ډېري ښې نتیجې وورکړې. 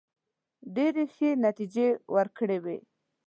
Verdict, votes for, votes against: rejected, 0, 2